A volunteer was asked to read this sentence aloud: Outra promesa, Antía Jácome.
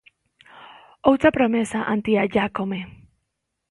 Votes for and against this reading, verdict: 0, 2, rejected